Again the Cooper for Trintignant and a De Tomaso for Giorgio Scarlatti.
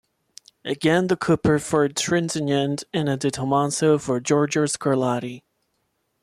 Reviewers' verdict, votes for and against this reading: rejected, 1, 2